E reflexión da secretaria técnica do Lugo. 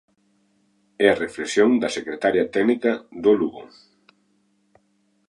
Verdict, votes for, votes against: rejected, 1, 3